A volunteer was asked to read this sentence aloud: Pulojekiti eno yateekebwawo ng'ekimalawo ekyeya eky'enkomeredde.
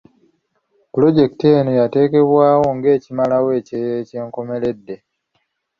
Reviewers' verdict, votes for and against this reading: accepted, 3, 0